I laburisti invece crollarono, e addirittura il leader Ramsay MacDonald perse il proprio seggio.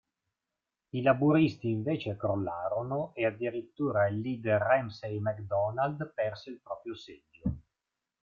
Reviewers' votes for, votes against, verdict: 2, 0, accepted